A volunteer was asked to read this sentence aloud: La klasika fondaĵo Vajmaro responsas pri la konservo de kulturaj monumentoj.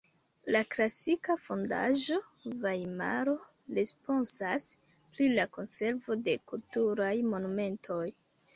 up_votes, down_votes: 2, 1